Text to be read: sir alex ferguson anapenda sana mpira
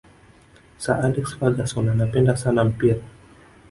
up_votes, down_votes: 2, 0